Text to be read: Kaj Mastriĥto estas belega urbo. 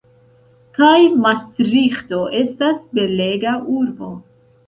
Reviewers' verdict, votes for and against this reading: accepted, 2, 0